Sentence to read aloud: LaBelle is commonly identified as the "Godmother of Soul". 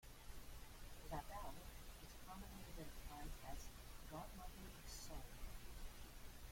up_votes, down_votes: 0, 2